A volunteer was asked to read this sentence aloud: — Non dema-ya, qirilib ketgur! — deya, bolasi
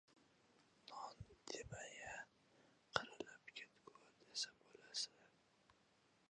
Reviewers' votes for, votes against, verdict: 0, 2, rejected